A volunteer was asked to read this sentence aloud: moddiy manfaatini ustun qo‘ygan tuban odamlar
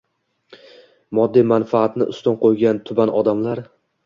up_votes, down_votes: 2, 1